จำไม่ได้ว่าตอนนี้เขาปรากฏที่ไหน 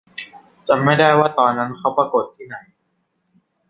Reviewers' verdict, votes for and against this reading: rejected, 0, 2